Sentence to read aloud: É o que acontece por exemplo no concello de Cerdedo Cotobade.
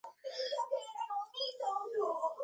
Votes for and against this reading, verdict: 0, 2, rejected